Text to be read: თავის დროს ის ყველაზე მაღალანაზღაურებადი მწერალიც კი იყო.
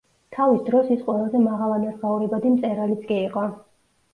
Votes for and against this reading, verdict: 2, 0, accepted